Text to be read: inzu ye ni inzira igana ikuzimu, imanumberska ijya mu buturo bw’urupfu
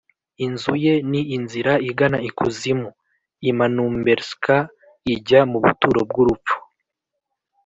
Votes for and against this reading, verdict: 2, 0, accepted